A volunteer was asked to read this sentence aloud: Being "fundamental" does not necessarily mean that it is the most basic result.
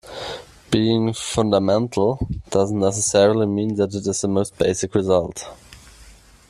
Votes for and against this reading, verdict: 1, 2, rejected